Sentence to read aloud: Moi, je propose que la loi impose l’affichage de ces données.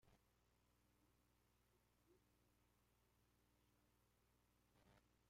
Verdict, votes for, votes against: rejected, 0, 2